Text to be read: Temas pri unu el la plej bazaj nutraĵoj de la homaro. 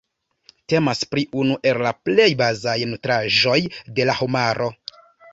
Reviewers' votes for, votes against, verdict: 2, 0, accepted